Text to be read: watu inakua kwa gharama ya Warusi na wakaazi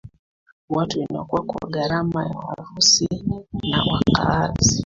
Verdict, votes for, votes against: rejected, 0, 2